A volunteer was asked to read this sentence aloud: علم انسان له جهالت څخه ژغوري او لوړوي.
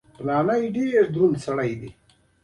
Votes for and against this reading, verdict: 3, 0, accepted